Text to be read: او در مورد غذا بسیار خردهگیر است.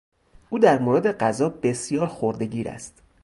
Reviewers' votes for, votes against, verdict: 4, 0, accepted